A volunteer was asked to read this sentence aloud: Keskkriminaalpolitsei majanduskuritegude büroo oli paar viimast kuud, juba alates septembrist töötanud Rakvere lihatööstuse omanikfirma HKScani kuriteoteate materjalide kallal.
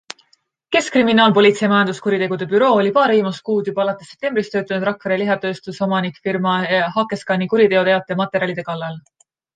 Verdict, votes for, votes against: accepted, 2, 1